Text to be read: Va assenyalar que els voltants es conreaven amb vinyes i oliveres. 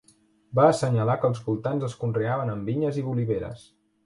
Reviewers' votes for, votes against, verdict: 0, 2, rejected